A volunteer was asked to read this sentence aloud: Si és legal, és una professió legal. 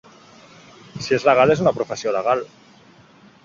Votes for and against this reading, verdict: 4, 1, accepted